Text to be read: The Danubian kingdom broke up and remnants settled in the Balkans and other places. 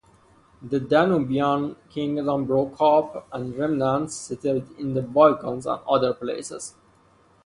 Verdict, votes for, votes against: accepted, 2, 0